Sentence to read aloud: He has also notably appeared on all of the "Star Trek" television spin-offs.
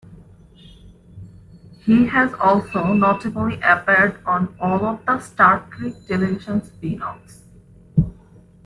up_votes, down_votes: 2, 1